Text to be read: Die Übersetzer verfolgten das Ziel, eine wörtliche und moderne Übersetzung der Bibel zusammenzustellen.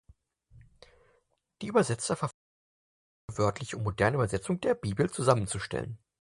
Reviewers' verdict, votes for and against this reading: rejected, 0, 4